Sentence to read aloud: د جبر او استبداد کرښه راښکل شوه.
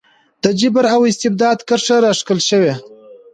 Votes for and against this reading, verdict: 2, 1, accepted